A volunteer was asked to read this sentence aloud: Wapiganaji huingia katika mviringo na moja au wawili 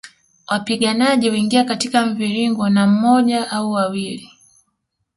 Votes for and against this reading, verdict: 2, 0, accepted